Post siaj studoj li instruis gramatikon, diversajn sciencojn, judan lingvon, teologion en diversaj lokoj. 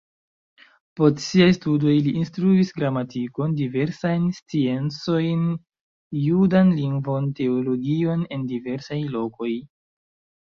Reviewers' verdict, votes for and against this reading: accepted, 2, 1